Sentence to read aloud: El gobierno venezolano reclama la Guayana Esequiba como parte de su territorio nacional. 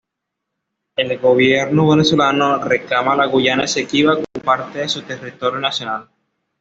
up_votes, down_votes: 2, 0